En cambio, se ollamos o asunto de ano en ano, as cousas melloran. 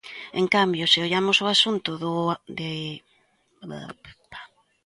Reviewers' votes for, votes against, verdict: 0, 2, rejected